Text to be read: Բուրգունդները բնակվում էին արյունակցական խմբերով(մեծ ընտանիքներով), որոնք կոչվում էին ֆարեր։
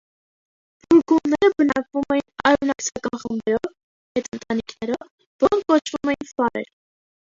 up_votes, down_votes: 0, 2